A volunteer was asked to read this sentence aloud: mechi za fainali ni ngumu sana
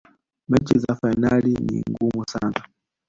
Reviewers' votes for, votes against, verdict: 2, 0, accepted